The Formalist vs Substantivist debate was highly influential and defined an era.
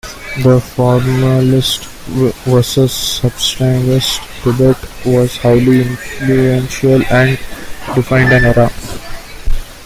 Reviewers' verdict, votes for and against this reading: rejected, 0, 2